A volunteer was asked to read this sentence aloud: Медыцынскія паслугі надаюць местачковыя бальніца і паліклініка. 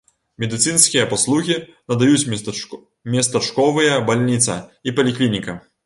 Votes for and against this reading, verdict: 1, 2, rejected